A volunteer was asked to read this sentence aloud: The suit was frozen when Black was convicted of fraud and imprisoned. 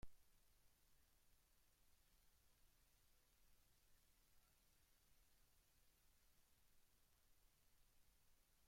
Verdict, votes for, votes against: rejected, 0, 2